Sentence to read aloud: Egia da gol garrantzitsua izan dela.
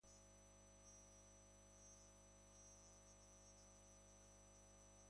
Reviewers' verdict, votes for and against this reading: rejected, 0, 4